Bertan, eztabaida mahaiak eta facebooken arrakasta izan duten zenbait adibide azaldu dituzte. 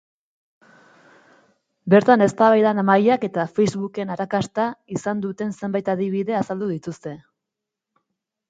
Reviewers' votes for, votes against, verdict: 2, 2, rejected